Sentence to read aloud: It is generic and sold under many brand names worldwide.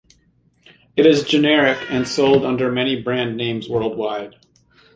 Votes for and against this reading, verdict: 2, 0, accepted